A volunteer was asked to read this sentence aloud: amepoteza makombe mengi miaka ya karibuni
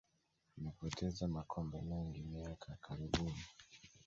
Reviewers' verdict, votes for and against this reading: accepted, 2, 0